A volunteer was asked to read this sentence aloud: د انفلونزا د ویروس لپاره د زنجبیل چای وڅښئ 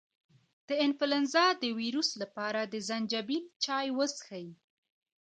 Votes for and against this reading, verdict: 1, 2, rejected